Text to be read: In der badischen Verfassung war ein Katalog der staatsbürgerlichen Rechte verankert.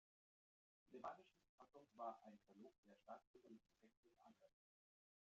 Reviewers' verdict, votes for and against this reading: rejected, 0, 2